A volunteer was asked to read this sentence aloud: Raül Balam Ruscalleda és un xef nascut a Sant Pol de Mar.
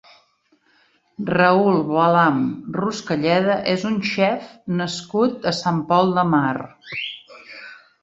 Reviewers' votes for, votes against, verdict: 2, 1, accepted